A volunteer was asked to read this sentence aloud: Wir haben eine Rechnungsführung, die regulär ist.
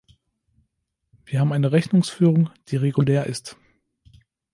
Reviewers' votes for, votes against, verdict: 3, 0, accepted